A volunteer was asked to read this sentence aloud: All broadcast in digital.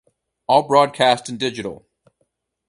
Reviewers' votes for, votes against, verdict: 2, 2, rejected